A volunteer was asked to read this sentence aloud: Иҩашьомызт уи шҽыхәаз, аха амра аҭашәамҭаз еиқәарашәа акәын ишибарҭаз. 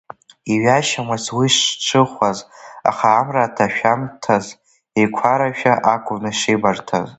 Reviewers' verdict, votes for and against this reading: accepted, 2, 0